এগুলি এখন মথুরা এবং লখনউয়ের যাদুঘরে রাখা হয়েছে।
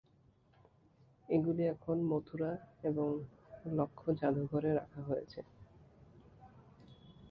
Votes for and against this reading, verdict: 1, 2, rejected